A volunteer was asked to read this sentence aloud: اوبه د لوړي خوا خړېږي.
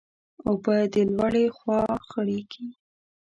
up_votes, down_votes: 1, 2